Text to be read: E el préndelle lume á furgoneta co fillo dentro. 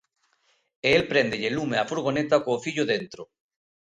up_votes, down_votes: 2, 0